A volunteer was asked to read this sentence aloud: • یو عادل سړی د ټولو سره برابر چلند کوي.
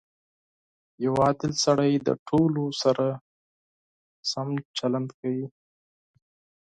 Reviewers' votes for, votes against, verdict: 0, 4, rejected